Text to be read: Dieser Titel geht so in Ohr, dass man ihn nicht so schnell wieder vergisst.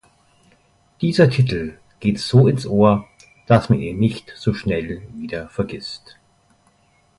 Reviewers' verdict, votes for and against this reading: rejected, 0, 2